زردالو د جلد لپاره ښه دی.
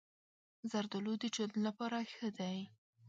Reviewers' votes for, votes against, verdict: 2, 0, accepted